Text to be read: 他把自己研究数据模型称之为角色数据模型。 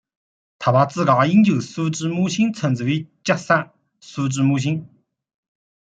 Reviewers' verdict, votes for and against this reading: rejected, 0, 2